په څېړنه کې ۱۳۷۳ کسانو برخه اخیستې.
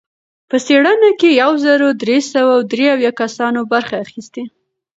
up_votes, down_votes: 0, 2